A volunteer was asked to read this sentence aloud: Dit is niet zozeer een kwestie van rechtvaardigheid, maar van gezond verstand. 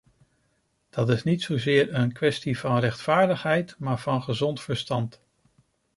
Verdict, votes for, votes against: rejected, 0, 2